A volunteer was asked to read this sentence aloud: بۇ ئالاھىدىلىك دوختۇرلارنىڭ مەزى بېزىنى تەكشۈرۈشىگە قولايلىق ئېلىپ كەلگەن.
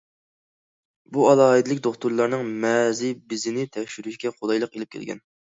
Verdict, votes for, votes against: accepted, 2, 0